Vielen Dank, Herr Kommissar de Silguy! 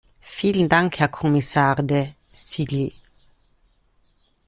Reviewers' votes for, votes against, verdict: 0, 2, rejected